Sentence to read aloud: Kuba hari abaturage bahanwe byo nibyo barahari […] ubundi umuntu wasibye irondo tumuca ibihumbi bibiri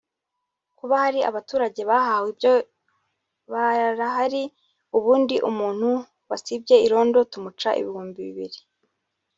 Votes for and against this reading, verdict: 0, 3, rejected